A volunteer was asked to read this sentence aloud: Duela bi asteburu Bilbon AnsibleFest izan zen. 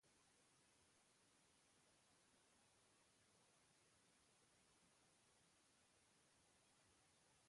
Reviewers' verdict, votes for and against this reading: rejected, 0, 2